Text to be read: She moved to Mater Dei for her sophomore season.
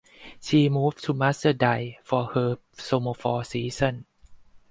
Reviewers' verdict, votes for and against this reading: rejected, 0, 4